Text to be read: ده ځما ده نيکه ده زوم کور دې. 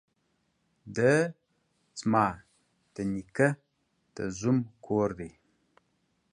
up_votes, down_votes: 2, 0